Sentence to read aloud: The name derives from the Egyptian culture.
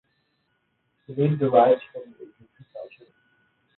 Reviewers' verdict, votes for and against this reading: rejected, 1, 2